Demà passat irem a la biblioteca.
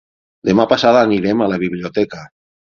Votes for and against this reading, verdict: 6, 9, rejected